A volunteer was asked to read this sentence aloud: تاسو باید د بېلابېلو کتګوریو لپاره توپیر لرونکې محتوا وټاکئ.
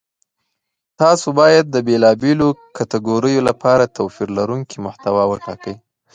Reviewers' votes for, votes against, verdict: 2, 0, accepted